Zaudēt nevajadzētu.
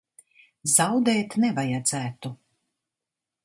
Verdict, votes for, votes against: accepted, 2, 0